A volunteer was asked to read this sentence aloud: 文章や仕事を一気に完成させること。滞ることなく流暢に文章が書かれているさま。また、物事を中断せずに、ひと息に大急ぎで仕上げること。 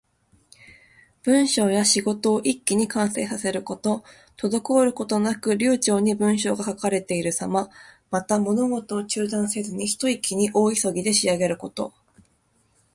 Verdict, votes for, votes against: accepted, 3, 1